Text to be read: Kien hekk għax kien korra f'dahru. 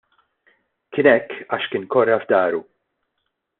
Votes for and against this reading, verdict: 2, 0, accepted